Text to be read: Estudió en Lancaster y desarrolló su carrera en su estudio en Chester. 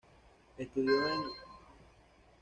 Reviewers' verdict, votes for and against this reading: rejected, 1, 2